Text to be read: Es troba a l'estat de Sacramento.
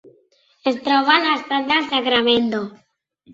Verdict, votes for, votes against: rejected, 0, 3